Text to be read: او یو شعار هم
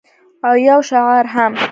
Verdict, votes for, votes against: rejected, 1, 2